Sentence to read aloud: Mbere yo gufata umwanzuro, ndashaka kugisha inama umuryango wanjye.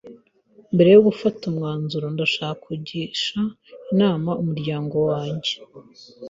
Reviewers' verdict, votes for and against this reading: accepted, 3, 0